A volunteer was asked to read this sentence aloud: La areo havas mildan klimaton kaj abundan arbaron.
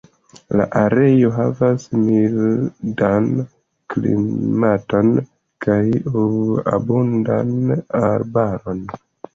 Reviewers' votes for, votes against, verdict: 1, 2, rejected